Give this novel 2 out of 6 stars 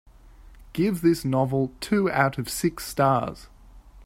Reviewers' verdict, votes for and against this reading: rejected, 0, 2